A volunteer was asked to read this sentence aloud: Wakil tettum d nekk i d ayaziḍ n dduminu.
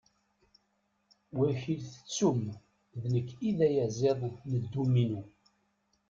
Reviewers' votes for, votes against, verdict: 0, 2, rejected